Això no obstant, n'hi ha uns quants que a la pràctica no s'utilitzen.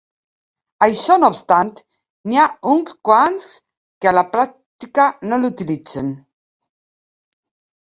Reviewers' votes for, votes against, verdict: 0, 3, rejected